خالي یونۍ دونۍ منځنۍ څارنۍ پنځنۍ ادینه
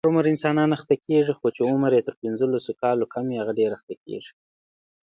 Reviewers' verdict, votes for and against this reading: rejected, 0, 2